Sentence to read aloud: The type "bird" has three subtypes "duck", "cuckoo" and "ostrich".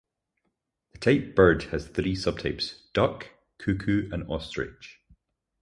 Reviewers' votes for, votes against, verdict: 4, 0, accepted